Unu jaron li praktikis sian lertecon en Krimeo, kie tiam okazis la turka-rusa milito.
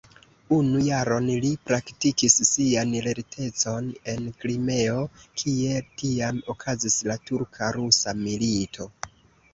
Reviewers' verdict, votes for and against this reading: accepted, 2, 0